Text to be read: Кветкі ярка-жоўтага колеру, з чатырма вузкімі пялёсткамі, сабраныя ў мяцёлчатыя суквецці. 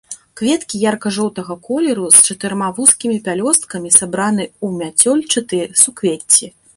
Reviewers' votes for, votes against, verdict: 1, 3, rejected